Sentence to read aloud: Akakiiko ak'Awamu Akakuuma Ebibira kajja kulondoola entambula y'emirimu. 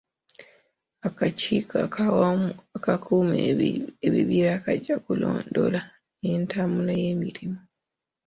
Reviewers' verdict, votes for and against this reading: rejected, 0, 2